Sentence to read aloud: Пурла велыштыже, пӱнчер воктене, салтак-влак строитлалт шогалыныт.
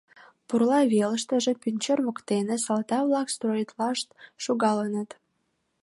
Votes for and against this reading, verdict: 1, 2, rejected